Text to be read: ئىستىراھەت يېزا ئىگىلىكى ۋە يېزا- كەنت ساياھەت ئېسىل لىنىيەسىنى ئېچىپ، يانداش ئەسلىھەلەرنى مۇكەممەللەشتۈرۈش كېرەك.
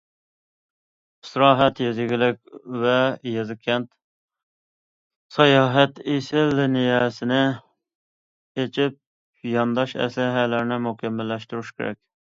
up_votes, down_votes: 0, 2